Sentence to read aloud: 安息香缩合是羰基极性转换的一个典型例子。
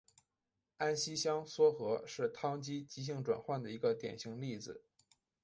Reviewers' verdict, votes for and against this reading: rejected, 1, 2